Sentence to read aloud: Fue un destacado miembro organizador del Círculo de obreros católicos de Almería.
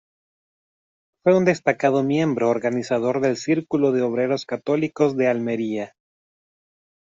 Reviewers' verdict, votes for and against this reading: accepted, 2, 0